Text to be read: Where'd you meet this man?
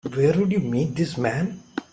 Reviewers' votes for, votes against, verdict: 2, 1, accepted